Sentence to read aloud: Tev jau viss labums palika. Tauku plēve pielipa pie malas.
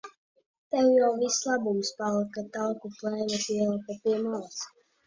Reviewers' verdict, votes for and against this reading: rejected, 1, 2